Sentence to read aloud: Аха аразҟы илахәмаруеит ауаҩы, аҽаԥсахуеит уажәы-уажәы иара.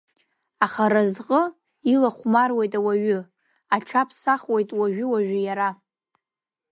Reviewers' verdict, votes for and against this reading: accepted, 2, 0